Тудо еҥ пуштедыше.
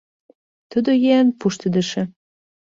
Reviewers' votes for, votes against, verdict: 2, 0, accepted